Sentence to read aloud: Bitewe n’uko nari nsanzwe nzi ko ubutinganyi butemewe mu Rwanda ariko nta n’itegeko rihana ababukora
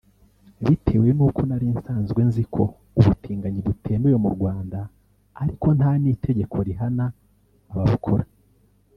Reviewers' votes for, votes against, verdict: 1, 2, rejected